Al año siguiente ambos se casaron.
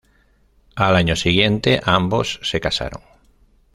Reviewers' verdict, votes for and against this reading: accepted, 2, 0